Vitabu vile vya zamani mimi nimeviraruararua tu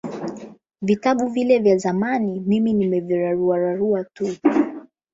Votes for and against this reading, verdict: 8, 0, accepted